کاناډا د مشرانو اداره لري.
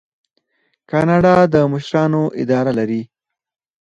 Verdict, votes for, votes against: rejected, 0, 4